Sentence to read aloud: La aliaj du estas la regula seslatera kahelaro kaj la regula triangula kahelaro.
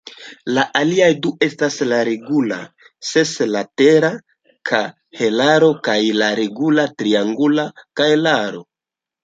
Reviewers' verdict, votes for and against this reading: accepted, 2, 0